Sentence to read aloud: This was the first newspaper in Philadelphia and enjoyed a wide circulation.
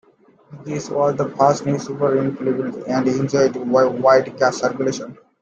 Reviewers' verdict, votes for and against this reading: rejected, 1, 2